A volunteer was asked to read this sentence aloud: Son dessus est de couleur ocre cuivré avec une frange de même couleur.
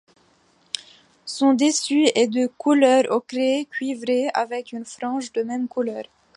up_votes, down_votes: 1, 2